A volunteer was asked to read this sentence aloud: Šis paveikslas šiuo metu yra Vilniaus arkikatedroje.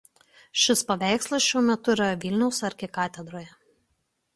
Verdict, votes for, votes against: accepted, 2, 0